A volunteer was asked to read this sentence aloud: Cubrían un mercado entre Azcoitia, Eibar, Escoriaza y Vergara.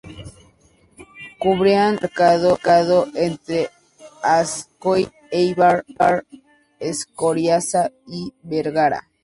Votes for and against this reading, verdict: 0, 2, rejected